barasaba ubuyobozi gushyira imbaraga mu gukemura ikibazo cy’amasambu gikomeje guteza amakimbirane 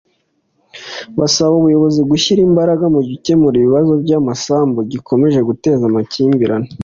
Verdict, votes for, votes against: accepted, 2, 1